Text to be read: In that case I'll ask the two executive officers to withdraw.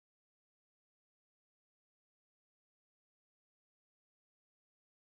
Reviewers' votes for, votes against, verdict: 0, 2, rejected